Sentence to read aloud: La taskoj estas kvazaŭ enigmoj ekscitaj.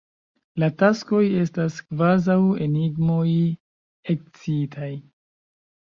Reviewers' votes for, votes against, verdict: 2, 0, accepted